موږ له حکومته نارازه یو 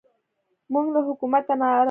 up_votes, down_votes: 0, 2